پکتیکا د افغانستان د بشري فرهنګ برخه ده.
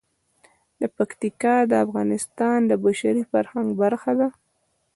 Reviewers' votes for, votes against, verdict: 2, 1, accepted